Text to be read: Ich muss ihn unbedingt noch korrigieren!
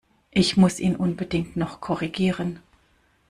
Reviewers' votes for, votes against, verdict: 2, 0, accepted